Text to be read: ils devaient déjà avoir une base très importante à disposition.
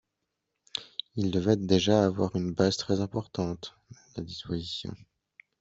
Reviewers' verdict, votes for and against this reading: rejected, 1, 2